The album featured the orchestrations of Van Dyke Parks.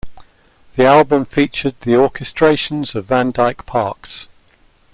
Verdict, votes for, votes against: accepted, 2, 0